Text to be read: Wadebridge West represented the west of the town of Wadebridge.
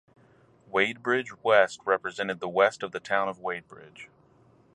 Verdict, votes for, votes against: rejected, 2, 2